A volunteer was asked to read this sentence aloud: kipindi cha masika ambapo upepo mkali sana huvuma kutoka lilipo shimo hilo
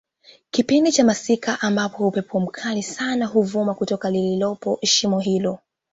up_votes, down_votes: 1, 2